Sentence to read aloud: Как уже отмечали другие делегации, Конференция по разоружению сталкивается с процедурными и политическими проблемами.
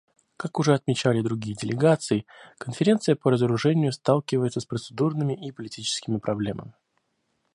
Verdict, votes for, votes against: rejected, 1, 2